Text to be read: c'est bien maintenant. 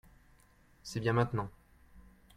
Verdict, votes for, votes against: accepted, 2, 0